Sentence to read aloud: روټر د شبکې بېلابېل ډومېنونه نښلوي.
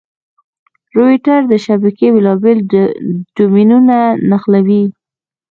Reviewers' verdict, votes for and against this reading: rejected, 1, 2